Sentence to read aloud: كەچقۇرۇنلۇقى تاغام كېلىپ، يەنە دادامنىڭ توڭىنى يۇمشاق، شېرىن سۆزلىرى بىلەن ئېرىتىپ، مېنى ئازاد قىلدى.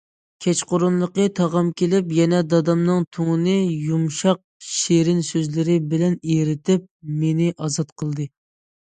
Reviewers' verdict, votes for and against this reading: accepted, 2, 0